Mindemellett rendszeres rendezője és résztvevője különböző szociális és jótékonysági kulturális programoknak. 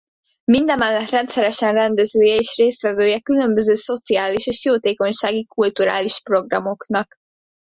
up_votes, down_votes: 0, 2